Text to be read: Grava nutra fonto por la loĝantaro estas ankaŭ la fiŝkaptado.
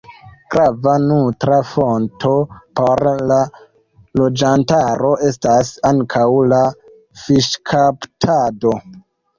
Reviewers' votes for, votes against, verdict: 0, 2, rejected